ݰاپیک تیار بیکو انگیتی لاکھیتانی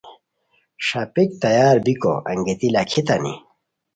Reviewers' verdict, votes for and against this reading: accepted, 2, 0